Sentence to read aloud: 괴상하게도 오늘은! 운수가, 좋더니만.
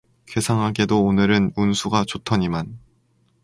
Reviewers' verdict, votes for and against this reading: rejected, 0, 2